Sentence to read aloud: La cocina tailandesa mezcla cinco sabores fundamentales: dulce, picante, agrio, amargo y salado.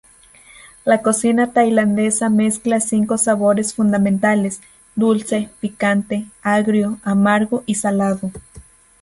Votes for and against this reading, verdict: 4, 0, accepted